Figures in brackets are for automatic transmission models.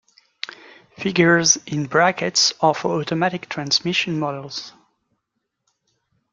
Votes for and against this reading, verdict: 2, 0, accepted